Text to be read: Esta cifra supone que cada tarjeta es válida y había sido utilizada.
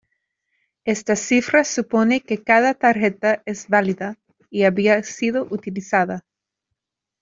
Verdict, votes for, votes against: rejected, 1, 2